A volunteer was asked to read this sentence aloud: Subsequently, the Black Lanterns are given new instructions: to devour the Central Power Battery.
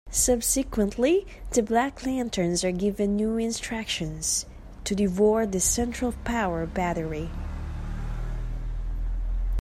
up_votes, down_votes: 1, 2